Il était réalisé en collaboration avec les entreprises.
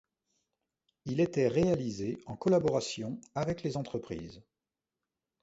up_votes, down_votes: 2, 0